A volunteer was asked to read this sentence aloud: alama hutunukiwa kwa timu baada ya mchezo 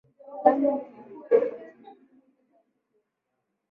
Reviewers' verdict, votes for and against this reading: rejected, 0, 2